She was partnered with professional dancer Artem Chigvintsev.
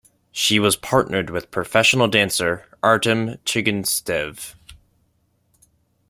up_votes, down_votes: 0, 2